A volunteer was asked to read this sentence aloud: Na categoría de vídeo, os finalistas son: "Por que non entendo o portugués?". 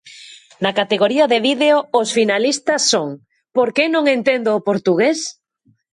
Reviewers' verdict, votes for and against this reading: accepted, 2, 0